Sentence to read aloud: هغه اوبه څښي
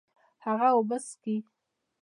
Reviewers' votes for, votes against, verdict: 2, 0, accepted